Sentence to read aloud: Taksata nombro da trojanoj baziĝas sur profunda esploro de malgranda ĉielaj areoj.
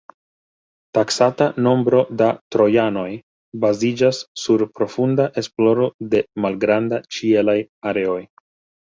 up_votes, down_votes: 2, 1